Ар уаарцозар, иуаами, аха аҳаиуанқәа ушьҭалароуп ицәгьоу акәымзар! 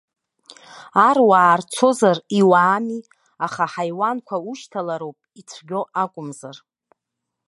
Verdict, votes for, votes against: rejected, 1, 2